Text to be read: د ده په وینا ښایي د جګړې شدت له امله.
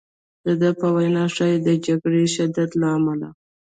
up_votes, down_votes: 1, 2